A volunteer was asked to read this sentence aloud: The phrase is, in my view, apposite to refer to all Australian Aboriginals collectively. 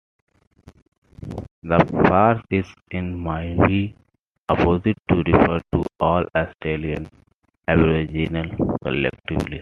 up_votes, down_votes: 0, 2